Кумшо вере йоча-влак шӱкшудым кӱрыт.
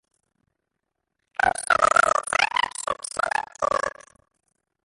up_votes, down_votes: 0, 2